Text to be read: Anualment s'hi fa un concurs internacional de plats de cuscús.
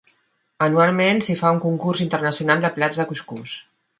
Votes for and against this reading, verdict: 2, 0, accepted